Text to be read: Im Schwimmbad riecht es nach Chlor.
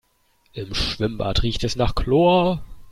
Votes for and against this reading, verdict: 3, 0, accepted